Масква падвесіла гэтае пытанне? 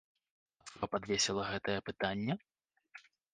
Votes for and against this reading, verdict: 0, 2, rejected